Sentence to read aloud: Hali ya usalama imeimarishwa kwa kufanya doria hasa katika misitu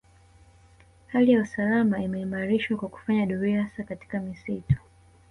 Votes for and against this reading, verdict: 2, 0, accepted